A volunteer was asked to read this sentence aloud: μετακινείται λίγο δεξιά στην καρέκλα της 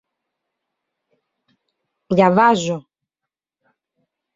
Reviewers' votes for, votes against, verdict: 0, 2, rejected